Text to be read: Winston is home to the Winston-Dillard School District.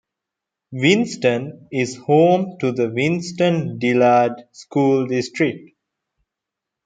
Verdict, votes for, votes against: accepted, 2, 0